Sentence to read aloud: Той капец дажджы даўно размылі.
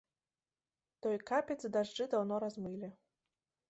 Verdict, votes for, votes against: rejected, 1, 2